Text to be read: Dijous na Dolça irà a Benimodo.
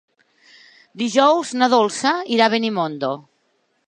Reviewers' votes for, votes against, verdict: 0, 3, rejected